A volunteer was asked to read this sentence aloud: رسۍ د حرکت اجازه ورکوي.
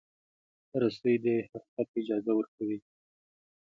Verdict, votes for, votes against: accepted, 2, 0